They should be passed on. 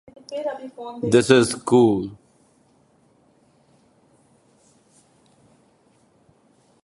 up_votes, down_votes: 0, 2